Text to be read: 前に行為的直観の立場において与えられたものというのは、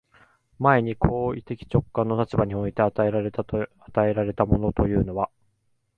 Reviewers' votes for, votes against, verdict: 1, 2, rejected